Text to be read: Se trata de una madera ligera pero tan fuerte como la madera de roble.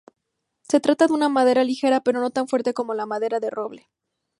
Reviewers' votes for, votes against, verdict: 0, 2, rejected